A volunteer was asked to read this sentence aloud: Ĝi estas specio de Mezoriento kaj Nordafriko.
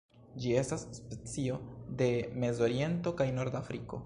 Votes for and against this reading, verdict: 2, 1, accepted